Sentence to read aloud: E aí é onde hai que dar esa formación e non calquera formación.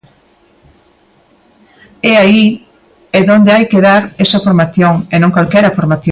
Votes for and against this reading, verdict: 0, 2, rejected